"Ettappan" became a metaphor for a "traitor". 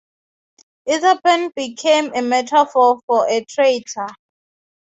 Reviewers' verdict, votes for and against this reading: rejected, 3, 3